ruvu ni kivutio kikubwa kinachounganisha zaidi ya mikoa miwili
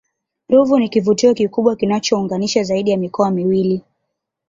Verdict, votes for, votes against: accepted, 2, 0